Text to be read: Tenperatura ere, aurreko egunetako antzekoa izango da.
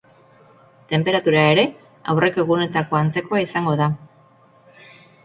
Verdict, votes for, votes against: accepted, 4, 2